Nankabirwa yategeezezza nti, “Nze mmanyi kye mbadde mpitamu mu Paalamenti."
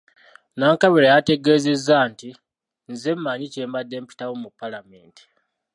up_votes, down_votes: 2, 0